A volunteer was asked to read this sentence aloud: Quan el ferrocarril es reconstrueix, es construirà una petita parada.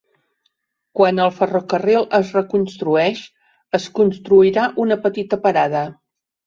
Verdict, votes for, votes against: accepted, 3, 0